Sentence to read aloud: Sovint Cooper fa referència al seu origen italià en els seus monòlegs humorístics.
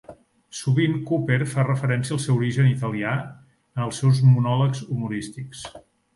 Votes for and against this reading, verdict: 4, 0, accepted